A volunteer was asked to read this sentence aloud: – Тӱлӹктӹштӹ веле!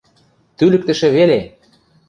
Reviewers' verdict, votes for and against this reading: rejected, 0, 2